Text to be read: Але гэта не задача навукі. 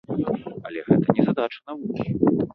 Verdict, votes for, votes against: rejected, 1, 2